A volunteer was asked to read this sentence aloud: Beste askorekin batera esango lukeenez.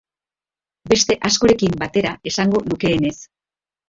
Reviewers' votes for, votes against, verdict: 1, 2, rejected